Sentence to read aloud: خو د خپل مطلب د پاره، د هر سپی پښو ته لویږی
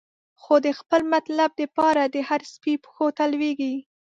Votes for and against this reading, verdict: 2, 0, accepted